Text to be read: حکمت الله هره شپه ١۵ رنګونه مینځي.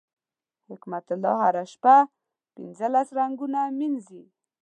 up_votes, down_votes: 0, 2